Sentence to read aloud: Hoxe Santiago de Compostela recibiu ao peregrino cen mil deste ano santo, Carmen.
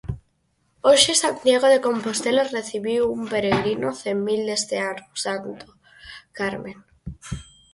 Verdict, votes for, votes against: rejected, 0, 4